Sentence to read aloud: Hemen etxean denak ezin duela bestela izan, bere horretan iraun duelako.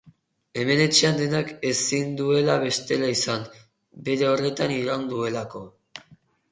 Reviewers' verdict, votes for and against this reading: rejected, 0, 2